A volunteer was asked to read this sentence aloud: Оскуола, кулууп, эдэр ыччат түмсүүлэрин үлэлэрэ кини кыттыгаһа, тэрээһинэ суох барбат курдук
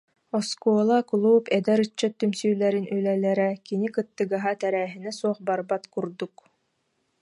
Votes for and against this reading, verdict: 2, 0, accepted